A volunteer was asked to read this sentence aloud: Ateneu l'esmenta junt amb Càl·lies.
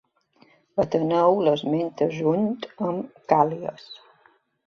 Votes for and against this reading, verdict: 2, 0, accepted